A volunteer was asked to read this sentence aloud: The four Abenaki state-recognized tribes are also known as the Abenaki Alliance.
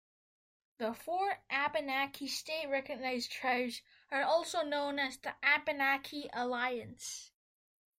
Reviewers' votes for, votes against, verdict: 2, 0, accepted